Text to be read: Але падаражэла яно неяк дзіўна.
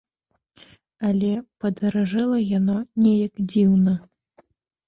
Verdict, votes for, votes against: rejected, 1, 2